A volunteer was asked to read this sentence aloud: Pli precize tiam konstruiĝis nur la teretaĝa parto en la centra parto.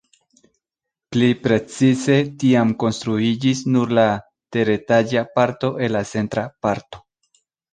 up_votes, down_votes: 0, 2